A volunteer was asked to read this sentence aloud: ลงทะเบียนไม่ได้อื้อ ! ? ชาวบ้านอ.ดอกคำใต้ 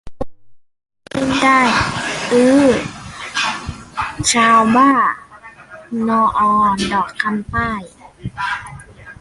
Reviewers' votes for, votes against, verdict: 0, 2, rejected